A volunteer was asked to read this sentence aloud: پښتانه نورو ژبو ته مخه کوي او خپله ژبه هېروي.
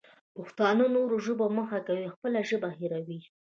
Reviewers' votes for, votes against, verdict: 1, 2, rejected